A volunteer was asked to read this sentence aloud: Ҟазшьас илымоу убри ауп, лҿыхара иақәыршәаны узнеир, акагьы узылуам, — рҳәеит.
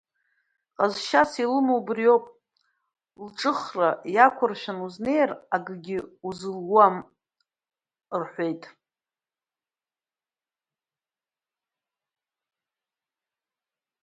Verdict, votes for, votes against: rejected, 1, 2